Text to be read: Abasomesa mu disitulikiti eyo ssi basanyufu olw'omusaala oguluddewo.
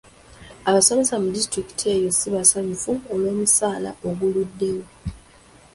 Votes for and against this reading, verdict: 2, 0, accepted